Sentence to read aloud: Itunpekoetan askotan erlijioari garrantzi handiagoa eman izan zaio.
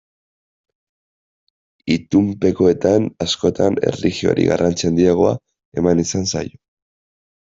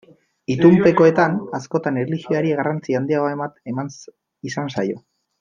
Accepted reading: first